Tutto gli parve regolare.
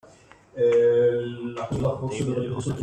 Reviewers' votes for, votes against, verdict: 0, 2, rejected